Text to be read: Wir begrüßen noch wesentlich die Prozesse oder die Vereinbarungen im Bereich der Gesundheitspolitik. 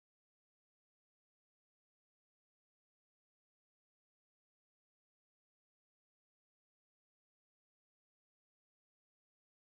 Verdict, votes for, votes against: rejected, 0, 2